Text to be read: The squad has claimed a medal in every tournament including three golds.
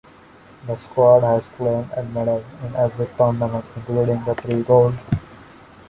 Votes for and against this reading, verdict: 0, 2, rejected